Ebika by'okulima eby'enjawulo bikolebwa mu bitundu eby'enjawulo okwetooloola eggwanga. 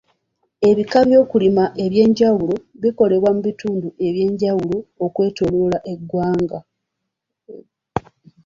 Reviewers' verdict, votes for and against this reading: accepted, 2, 0